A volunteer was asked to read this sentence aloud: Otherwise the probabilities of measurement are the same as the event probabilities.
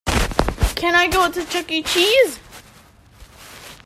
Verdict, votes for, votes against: rejected, 0, 2